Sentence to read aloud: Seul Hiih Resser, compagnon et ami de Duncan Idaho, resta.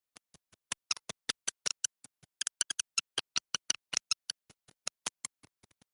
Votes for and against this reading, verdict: 0, 2, rejected